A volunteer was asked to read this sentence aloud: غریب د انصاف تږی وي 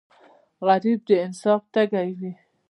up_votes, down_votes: 1, 2